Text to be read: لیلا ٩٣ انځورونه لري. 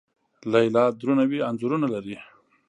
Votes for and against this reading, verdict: 0, 2, rejected